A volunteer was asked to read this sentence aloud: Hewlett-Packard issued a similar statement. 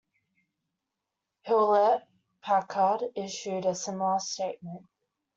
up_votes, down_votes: 2, 0